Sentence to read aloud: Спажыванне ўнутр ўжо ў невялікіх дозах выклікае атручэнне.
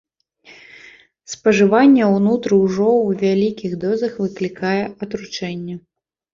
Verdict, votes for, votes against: rejected, 0, 2